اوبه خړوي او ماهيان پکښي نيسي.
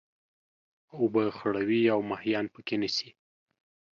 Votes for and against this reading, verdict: 2, 0, accepted